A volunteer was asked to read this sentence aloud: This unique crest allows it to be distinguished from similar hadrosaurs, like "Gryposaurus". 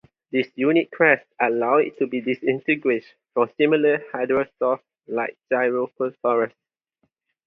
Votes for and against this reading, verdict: 0, 2, rejected